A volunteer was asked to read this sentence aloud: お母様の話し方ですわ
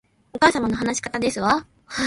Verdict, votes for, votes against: rejected, 1, 2